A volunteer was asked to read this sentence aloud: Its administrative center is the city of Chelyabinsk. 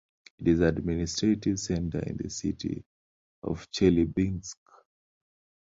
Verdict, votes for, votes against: rejected, 0, 2